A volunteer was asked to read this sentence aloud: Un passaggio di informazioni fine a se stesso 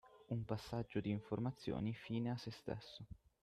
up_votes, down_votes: 6, 3